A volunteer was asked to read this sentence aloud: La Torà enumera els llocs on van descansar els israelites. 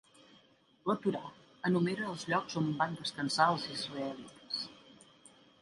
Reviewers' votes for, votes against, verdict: 1, 2, rejected